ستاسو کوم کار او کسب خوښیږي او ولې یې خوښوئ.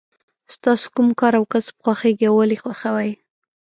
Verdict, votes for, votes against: rejected, 1, 2